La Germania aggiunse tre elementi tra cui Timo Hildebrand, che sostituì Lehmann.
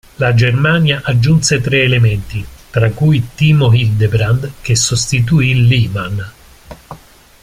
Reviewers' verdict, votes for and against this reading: accepted, 2, 0